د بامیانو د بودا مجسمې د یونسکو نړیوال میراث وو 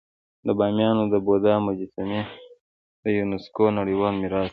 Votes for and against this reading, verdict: 1, 2, rejected